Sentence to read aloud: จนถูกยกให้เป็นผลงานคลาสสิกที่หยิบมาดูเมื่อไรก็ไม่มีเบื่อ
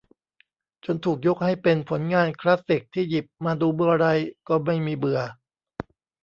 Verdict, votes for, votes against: rejected, 0, 2